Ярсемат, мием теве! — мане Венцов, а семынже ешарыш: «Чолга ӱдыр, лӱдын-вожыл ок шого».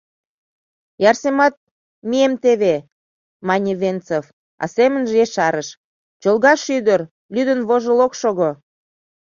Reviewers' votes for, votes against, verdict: 1, 2, rejected